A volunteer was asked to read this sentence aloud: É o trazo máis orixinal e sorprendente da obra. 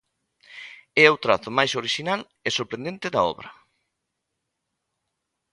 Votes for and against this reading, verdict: 2, 0, accepted